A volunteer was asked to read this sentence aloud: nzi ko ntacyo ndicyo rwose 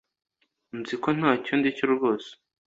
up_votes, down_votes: 2, 0